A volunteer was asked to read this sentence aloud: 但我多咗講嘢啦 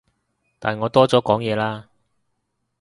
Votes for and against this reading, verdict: 2, 0, accepted